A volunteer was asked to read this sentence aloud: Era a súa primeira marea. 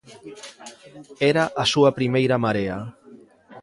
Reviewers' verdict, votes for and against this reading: accepted, 2, 0